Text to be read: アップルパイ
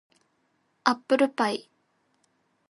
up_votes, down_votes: 2, 0